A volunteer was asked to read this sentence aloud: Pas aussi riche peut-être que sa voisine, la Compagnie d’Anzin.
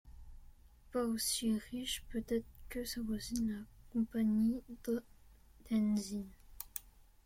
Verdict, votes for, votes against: rejected, 0, 2